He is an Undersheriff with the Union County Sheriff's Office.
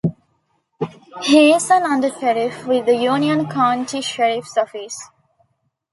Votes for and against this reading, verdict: 2, 0, accepted